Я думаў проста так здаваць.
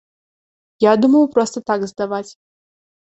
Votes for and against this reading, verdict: 2, 0, accepted